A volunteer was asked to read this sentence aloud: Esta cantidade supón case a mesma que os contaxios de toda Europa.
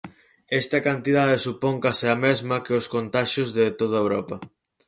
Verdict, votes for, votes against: accepted, 4, 0